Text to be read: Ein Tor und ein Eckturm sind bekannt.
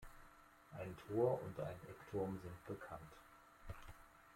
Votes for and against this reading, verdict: 2, 1, accepted